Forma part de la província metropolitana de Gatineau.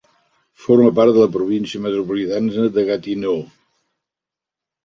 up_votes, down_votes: 0, 2